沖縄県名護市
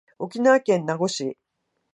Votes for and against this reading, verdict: 2, 0, accepted